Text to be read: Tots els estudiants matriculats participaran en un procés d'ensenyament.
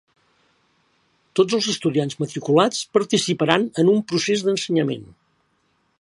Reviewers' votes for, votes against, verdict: 3, 0, accepted